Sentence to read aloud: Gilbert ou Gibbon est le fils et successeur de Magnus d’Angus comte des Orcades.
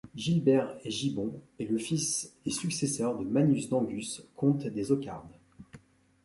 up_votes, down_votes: 1, 2